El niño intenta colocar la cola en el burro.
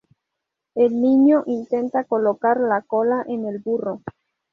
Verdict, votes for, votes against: accepted, 2, 0